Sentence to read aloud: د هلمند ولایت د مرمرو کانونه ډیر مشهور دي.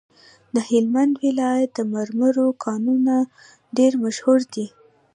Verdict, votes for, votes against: accepted, 2, 0